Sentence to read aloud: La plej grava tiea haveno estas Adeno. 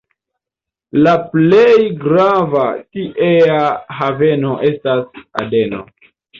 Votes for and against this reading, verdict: 2, 0, accepted